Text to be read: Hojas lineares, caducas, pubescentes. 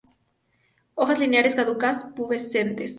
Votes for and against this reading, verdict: 0, 2, rejected